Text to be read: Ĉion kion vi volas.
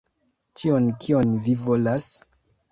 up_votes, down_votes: 1, 2